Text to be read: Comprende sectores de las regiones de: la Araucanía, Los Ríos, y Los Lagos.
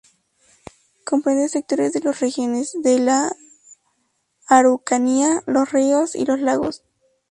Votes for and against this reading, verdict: 2, 0, accepted